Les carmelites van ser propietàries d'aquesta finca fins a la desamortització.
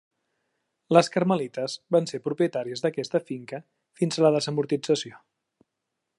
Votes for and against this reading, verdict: 2, 0, accepted